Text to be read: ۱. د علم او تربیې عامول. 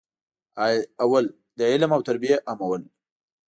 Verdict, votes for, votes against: rejected, 0, 2